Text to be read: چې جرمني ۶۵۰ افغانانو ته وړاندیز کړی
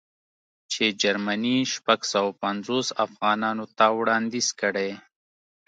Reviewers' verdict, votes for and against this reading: rejected, 0, 2